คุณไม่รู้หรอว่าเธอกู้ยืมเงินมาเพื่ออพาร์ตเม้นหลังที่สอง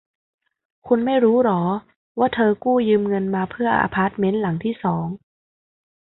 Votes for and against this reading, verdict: 2, 0, accepted